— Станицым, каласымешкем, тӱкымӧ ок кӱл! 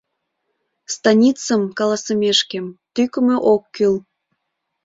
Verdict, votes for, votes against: accepted, 2, 0